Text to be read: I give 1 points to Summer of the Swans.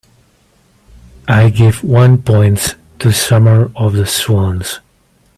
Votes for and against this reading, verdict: 0, 2, rejected